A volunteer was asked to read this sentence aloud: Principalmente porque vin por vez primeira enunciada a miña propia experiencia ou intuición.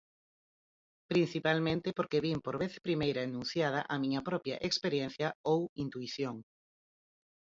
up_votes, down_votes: 4, 0